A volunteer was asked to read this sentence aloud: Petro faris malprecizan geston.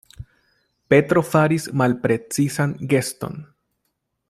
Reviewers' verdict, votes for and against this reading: accepted, 2, 0